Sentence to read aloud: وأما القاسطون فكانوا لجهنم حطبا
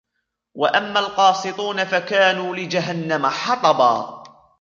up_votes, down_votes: 0, 2